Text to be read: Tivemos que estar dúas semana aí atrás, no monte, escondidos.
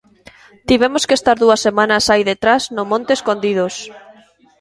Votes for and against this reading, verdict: 0, 2, rejected